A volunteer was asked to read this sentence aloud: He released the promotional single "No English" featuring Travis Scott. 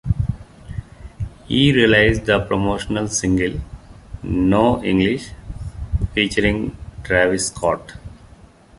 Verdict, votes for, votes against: accepted, 2, 0